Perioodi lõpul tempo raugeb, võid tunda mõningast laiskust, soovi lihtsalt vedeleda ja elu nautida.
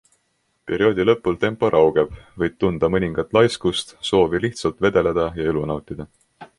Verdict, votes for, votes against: accepted, 2, 1